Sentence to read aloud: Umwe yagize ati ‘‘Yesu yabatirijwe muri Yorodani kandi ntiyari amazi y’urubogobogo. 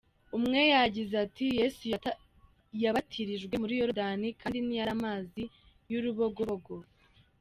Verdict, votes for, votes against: rejected, 0, 2